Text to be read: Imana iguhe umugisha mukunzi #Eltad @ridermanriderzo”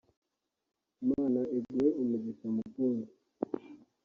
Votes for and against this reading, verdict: 1, 2, rejected